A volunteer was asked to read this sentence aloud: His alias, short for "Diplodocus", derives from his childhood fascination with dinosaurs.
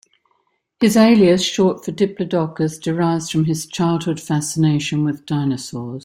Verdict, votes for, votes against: accepted, 2, 0